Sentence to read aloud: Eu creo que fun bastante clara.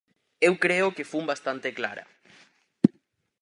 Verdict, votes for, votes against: accepted, 4, 0